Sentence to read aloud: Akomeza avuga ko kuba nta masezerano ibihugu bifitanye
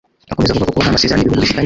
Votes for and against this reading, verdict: 0, 2, rejected